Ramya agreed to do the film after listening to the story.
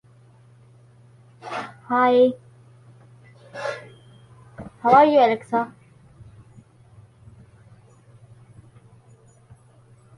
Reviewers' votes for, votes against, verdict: 0, 2, rejected